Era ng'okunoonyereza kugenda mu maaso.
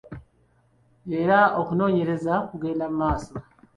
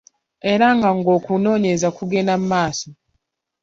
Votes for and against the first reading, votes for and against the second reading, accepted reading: 0, 2, 2, 0, second